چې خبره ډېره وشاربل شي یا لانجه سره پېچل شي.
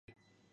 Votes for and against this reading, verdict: 1, 2, rejected